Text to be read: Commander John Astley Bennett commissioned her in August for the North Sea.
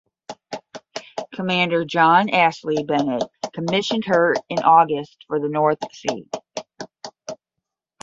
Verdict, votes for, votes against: rejected, 5, 5